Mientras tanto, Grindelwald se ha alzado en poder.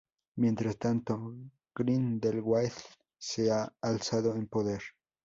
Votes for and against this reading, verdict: 2, 0, accepted